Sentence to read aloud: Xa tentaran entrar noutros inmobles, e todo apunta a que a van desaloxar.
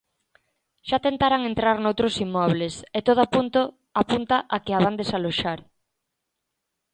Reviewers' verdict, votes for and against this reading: rejected, 0, 2